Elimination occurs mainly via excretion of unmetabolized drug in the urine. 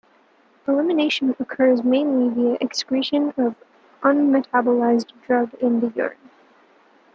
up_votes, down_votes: 2, 0